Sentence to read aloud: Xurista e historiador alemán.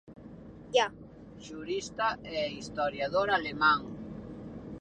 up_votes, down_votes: 0, 2